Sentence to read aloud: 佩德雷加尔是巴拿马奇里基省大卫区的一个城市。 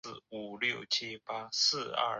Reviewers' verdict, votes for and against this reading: rejected, 0, 2